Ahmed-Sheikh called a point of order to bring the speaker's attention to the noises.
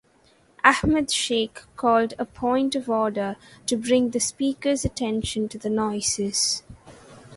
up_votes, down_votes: 0, 2